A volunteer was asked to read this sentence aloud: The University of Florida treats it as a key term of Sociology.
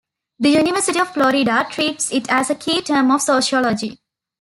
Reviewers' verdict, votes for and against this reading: accepted, 2, 1